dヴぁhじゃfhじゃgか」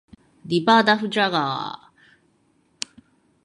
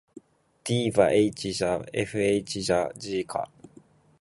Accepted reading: second